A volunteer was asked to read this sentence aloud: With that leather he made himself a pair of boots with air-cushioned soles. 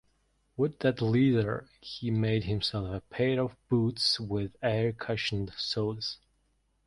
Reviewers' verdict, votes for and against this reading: rejected, 0, 2